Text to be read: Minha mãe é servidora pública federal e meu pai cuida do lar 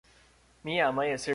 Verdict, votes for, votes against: rejected, 0, 2